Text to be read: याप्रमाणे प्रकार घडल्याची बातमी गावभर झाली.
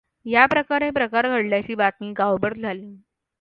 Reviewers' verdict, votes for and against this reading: accepted, 2, 1